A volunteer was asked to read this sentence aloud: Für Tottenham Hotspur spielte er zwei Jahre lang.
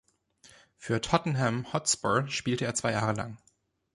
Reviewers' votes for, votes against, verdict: 1, 2, rejected